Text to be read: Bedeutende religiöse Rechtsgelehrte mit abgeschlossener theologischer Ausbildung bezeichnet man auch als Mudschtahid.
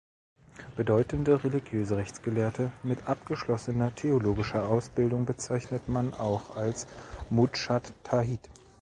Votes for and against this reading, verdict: 1, 2, rejected